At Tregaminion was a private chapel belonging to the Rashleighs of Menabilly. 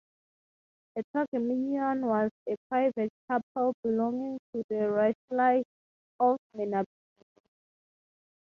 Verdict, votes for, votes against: rejected, 0, 3